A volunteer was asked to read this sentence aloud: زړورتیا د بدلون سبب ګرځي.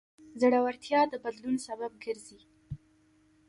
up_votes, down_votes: 1, 2